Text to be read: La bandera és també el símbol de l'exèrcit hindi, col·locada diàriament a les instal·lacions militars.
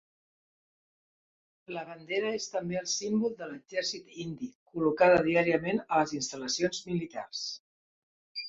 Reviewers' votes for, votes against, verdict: 1, 2, rejected